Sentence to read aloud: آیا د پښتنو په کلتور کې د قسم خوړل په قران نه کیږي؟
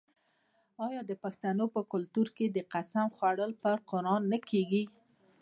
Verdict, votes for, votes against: accepted, 2, 0